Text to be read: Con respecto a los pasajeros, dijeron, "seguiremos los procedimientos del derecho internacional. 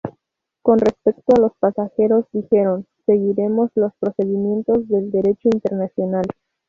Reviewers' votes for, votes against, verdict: 2, 2, rejected